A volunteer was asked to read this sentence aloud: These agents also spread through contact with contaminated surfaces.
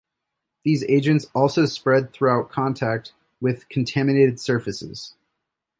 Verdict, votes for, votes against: rejected, 0, 2